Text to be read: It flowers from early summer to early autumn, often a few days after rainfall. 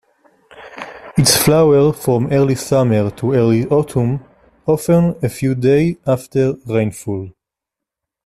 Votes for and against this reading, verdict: 0, 2, rejected